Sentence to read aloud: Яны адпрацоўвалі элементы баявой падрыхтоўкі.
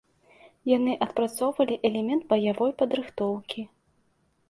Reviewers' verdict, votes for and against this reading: rejected, 0, 2